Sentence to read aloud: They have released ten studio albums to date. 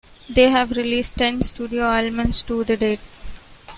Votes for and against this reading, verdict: 0, 2, rejected